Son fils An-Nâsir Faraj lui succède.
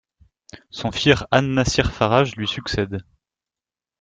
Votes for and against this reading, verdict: 0, 2, rejected